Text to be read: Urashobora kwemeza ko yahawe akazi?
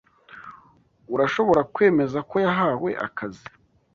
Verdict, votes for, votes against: accepted, 2, 0